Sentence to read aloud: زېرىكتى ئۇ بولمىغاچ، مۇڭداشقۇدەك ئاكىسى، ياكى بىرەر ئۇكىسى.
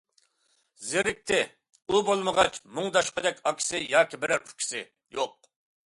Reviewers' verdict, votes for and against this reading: rejected, 0, 2